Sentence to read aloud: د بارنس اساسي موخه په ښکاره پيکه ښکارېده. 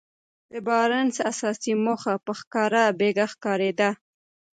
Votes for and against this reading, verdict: 2, 0, accepted